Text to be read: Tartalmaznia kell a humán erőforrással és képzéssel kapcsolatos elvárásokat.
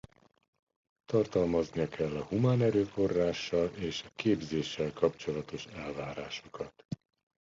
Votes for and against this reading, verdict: 2, 0, accepted